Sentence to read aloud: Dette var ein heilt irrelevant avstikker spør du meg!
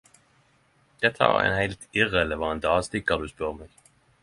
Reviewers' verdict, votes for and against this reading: rejected, 0, 10